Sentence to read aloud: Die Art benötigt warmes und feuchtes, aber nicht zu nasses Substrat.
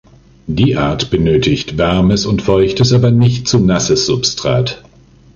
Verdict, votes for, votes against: accepted, 2, 0